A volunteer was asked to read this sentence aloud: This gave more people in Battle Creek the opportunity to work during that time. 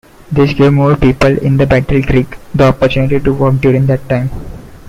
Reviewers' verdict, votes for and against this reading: rejected, 0, 2